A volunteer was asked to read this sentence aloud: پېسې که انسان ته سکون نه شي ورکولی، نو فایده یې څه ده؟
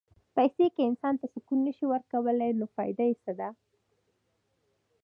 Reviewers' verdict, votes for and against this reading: accepted, 2, 0